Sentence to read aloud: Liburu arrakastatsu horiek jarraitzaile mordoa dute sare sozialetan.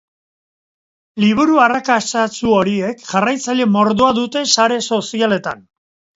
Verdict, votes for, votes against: accepted, 2, 0